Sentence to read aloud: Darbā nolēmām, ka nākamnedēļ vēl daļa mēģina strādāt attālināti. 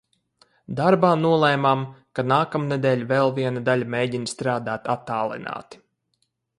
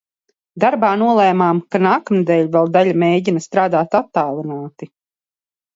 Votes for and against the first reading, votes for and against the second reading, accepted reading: 0, 4, 2, 0, second